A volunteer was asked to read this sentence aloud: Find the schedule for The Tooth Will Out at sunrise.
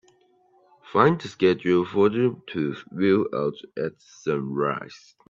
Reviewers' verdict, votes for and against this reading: rejected, 1, 3